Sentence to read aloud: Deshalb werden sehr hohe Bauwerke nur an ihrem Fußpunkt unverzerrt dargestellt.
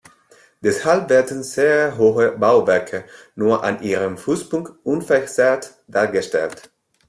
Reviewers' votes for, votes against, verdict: 2, 0, accepted